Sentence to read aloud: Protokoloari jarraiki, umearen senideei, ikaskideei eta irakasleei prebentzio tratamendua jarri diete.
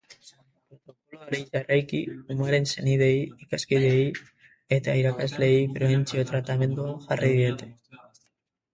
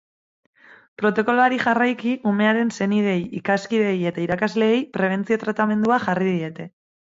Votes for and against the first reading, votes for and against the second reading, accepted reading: 0, 2, 4, 0, second